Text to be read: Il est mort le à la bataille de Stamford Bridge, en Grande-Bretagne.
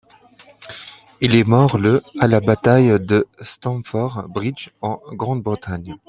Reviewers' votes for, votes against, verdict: 2, 0, accepted